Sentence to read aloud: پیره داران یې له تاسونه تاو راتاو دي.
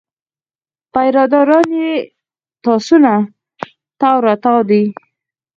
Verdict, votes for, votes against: rejected, 0, 4